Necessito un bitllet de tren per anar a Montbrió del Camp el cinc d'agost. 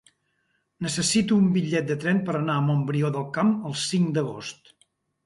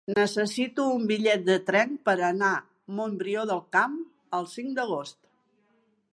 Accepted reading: first